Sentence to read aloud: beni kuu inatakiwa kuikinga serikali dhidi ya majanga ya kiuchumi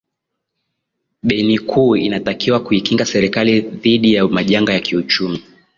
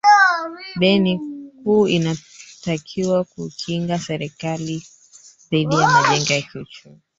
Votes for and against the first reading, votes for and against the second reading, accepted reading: 10, 1, 0, 3, first